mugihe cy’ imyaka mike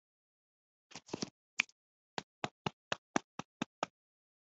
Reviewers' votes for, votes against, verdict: 1, 2, rejected